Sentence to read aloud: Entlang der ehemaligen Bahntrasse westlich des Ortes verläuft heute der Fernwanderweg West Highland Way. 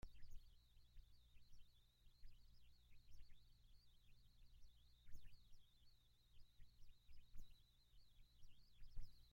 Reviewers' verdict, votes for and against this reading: rejected, 0, 2